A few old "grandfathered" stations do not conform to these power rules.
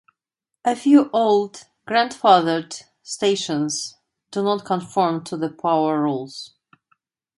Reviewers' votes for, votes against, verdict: 1, 2, rejected